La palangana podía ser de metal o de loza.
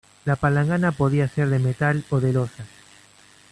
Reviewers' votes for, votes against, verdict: 1, 2, rejected